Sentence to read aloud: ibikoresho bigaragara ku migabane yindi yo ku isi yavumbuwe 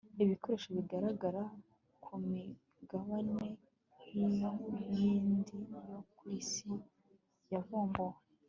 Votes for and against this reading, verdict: 2, 1, accepted